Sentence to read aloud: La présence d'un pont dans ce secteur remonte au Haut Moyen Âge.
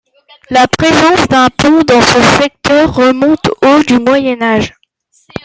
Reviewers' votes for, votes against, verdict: 1, 2, rejected